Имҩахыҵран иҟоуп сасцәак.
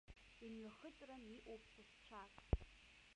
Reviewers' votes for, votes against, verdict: 0, 2, rejected